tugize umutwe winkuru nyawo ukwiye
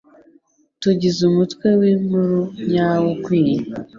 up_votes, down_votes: 2, 0